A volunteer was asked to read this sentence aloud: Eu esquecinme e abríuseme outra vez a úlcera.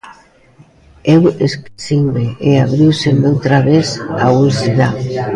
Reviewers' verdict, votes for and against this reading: rejected, 1, 2